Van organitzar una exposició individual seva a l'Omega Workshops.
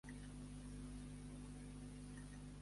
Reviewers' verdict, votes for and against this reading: rejected, 0, 2